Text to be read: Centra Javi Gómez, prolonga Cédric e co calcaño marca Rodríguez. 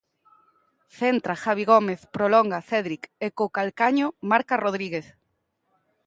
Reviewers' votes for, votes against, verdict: 2, 0, accepted